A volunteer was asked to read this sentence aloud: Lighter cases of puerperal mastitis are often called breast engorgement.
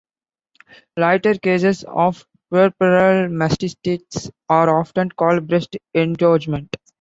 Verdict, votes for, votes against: rejected, 1, 2